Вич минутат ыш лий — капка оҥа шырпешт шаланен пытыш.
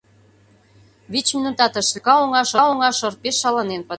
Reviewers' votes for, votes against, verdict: 0, 2, rejected